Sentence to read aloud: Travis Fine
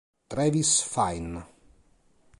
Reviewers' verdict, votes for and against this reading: accepted, 2, 0